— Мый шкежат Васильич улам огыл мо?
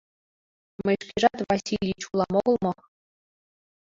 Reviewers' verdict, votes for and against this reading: rejected, 0, 2